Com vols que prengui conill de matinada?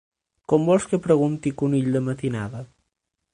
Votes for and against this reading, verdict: 0, 6, rejected